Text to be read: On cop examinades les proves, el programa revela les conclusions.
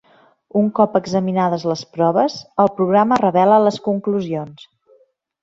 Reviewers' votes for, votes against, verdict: 0, 2, rejected